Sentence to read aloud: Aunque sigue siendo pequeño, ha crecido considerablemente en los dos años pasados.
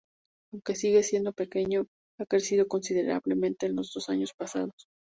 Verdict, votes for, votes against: accepted, 2, 0